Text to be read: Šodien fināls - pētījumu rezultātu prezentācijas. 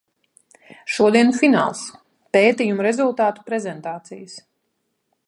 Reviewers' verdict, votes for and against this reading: accepted, 2, 0